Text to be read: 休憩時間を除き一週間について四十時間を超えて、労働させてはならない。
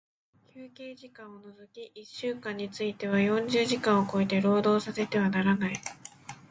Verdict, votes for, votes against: accepted, 2, 0